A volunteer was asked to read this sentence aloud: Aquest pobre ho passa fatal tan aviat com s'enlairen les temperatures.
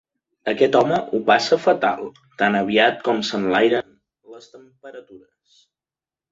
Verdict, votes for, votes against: rejected, 0, 2